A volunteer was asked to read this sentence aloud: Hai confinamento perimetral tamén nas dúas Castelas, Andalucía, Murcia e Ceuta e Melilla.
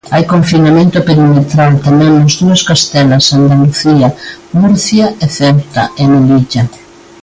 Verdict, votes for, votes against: accepted, 3, 0